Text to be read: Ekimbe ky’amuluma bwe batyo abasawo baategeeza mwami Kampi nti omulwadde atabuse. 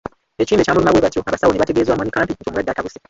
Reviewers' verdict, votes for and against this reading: rejected, 0, 2